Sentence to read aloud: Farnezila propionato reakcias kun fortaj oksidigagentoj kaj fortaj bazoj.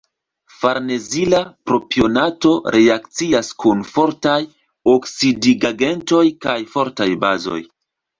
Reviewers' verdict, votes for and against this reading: accepted, 2, 0